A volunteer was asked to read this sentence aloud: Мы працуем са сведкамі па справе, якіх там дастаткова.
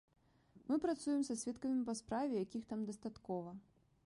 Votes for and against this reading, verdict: 1, 2, rejected